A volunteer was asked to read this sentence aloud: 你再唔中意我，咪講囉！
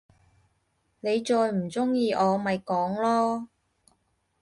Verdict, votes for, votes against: accepted, 2, 0